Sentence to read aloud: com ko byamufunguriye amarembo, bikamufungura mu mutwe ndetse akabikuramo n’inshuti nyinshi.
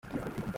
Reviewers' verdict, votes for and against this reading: rejected, 0, 2